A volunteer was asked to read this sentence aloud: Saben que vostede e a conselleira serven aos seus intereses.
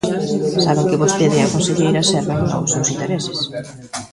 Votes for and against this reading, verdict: 1, 2, rejected